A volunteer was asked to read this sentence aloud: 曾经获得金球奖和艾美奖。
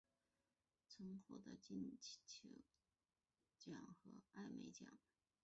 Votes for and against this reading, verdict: 1, 4, rejected